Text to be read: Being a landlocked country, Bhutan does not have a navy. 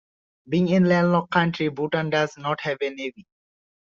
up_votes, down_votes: 0, 2